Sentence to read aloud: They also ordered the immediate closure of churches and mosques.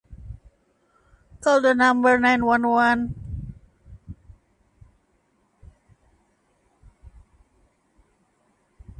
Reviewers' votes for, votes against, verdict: 0, 2, rejected